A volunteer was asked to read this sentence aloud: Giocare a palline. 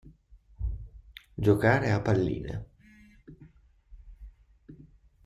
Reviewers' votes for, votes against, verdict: 2, 0, accepted